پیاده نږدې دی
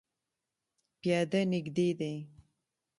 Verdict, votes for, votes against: accepted, 2, 0